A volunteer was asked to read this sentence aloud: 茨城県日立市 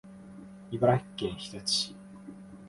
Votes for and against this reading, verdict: 4, 0, accepted